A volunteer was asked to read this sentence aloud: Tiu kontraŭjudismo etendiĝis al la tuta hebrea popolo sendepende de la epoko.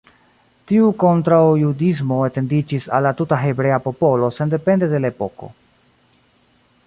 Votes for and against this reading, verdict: 1, 2, rejected